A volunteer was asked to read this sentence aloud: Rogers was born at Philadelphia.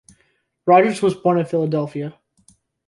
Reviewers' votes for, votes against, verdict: 2, 0, accepted